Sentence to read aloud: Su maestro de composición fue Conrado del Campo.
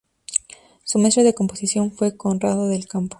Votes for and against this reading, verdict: 2, 0, accepted